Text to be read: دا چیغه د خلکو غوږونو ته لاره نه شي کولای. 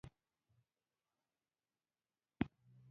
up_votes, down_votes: 1, 2